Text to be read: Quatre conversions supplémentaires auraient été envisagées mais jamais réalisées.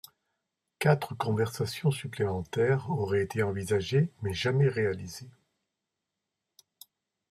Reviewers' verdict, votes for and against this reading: rejected, 1, 2